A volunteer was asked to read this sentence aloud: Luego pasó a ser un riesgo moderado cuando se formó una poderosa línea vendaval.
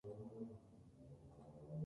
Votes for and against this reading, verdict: 0, 4, rejected